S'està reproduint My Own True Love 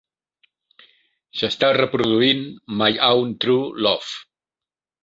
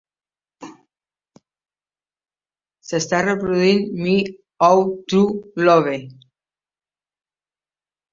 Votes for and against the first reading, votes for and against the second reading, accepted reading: 2, 0, 0, 2, first